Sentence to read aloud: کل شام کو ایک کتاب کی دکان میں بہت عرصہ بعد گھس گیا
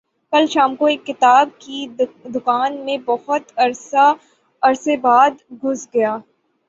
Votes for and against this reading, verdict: 3, 3, rejected